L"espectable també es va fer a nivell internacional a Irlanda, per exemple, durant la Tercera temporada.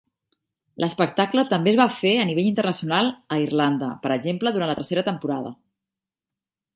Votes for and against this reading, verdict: 1, 2, rejected